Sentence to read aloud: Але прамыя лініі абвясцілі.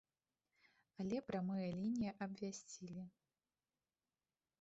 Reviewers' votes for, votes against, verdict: 1, 2, rejected